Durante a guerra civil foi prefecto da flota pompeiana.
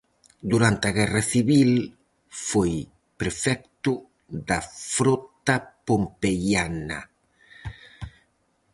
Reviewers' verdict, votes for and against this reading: rejected, 0, 4